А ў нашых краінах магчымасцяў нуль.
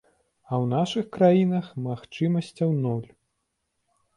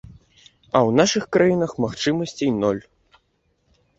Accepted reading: first